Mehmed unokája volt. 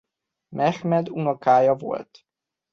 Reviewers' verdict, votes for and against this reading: accepted, 2, 0